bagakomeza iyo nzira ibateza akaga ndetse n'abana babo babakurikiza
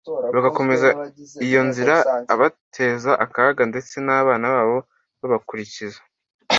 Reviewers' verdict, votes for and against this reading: rejected, 1, 2